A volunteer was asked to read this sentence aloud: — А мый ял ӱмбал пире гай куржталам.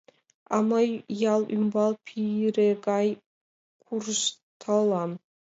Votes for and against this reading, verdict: 1, 2, rejected